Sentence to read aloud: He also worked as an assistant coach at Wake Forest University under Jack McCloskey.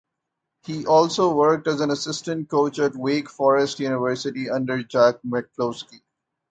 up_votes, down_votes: 2, 0